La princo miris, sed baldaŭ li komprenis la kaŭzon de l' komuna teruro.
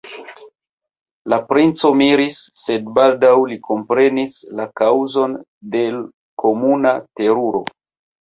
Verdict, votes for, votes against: accepted, 2, 1